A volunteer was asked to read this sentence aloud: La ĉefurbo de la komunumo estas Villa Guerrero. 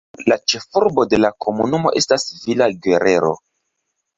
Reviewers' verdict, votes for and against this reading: rejected, 1, 2